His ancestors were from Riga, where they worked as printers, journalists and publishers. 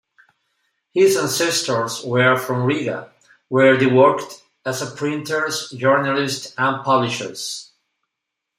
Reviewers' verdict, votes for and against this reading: accepted, 2, 0